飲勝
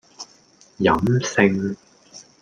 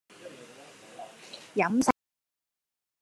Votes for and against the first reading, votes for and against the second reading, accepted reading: 2, 0, 0, 2, first